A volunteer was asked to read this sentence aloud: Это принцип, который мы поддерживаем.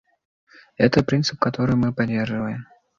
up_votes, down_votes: 2, 0